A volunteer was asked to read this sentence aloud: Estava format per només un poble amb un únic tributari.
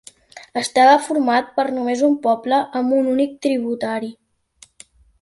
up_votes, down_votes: 2, 0